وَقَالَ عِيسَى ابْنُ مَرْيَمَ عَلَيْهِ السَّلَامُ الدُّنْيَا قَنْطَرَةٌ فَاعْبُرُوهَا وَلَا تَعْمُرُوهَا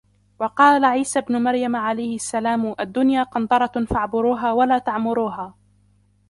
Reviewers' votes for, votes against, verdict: 1, 2, rejected